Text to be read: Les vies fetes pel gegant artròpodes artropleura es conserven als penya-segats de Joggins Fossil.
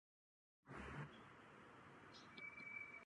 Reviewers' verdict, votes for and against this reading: rejected, 1, 2